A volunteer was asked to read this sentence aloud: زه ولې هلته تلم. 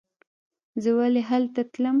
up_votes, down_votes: 2, 1